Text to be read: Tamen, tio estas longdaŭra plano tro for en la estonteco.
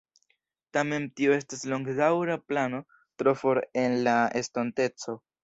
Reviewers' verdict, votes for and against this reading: rejected, 1, 2